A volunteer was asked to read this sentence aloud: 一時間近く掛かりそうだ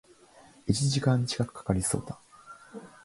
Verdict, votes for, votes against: accepted, 6, 0